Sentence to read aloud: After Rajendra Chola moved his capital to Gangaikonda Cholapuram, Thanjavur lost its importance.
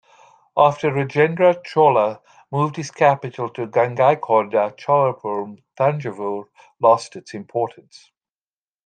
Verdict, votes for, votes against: accepted, 2, 0